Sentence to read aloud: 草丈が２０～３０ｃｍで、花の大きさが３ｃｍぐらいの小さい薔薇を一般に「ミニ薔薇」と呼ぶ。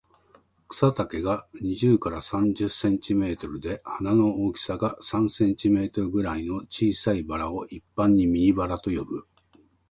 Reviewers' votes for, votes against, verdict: 0, 2, rejected